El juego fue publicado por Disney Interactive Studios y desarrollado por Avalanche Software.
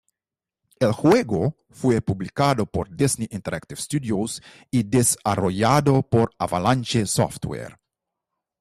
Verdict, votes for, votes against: rejected, 1, 2